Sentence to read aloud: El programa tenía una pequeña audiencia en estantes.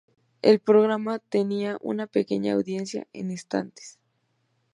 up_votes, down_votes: 2, 0